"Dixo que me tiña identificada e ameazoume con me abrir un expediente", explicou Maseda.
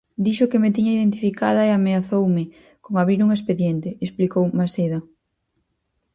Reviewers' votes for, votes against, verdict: 0, 4, rejected